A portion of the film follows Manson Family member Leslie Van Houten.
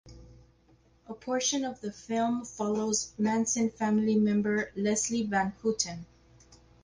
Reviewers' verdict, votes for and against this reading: rejected, 2, 2